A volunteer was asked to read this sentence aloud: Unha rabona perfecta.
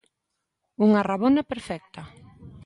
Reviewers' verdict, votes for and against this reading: accepted, 2, 0